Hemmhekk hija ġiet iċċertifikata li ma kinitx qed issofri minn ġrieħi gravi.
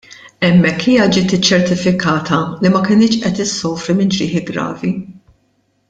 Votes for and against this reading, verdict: 2, 0, accepted